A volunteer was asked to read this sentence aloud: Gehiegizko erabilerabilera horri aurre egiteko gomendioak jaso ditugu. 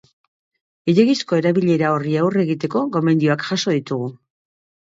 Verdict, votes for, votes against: accepted, 2, 0